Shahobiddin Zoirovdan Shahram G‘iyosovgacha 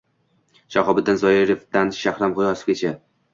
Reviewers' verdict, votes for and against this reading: accepted, 2, 0